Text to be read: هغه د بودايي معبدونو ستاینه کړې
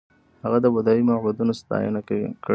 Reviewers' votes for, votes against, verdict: 2, 0, accepted